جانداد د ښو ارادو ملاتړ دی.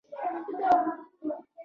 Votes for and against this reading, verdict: 0, 2, rejected